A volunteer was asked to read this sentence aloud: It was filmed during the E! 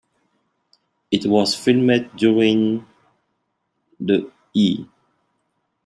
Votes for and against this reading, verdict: 1, 2, rejected